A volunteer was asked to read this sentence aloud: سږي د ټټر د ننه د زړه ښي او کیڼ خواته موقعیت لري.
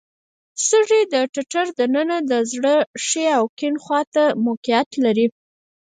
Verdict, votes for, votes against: rejected, 2, 4